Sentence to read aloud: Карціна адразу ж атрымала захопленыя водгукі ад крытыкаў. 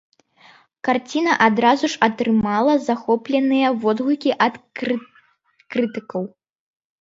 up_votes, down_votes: 0, 3